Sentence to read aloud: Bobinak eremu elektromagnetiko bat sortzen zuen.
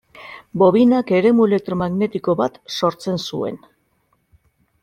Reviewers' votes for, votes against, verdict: 2, 1, accepted